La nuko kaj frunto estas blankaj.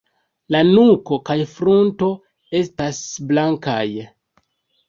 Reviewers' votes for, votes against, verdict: 3, 2, accepted